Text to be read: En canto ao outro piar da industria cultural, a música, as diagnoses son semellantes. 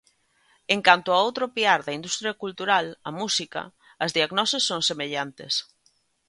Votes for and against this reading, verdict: 2, 0, accepted